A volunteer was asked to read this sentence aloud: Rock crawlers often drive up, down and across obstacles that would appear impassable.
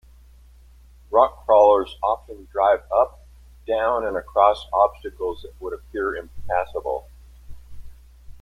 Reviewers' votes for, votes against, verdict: 2, 0, accepted